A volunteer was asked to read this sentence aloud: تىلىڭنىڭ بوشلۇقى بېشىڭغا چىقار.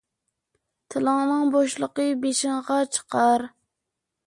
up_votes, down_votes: 2, 0